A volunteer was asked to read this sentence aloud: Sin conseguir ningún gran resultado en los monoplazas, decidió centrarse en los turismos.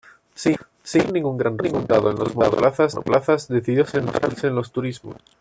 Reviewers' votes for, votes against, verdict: 0, 2, rejected